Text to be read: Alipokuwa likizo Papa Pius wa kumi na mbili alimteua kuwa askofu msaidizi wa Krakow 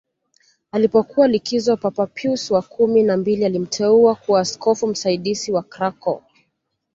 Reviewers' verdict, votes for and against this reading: accepted, 2, 0